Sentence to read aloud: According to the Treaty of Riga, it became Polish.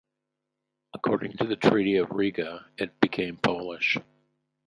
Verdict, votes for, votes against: accepted, 2, 0